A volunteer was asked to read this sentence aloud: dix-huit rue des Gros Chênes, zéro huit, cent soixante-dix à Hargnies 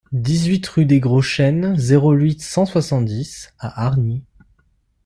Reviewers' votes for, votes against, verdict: 2, 0, accepted